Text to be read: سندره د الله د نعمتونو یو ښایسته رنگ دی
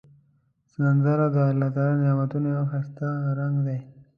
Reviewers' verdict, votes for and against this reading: accepted, 2, 0